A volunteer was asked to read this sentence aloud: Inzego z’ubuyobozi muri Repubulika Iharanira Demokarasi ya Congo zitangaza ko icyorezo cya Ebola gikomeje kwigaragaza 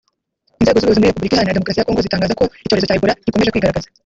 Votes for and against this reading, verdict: 1, 2, rejected